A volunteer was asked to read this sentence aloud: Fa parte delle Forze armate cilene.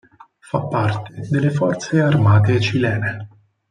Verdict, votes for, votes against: accepted, 4, 0